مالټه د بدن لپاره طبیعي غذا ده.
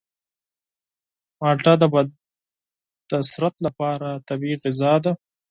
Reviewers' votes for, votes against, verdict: 2, 4, rejected